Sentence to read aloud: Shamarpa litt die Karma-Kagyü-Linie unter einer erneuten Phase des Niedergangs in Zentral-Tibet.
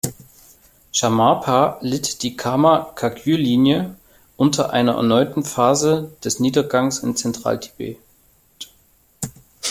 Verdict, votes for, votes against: rejected, 1, 2